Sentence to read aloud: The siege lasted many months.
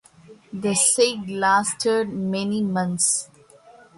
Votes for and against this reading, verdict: 0, 2, rejected